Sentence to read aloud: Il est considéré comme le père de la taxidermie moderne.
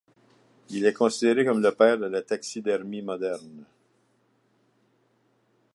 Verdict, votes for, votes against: accepted, 2, 0